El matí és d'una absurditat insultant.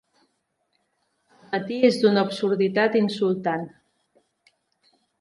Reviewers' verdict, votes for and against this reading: rejected, 2, 3